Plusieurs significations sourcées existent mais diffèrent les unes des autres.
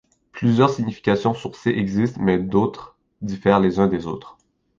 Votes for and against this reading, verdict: 1, 2, rejected